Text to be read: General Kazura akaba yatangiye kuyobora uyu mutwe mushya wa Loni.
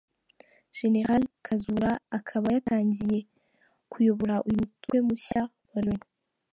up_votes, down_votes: 2, 0